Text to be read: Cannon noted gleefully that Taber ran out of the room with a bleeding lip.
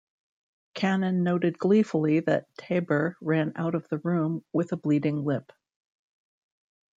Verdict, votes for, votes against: accepted, 2, 0